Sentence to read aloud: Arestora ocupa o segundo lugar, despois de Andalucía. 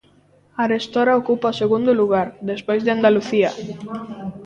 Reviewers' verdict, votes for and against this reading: rejected, 1, 2